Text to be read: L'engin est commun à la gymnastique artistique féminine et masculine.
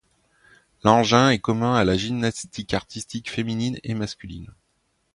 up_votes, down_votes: 2, 0